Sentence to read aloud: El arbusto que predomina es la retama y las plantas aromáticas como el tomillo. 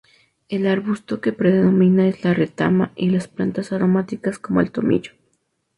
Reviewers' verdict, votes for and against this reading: accepted, 2, 0